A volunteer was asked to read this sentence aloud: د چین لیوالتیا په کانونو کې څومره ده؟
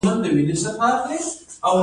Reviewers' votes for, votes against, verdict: 2, 1, accepted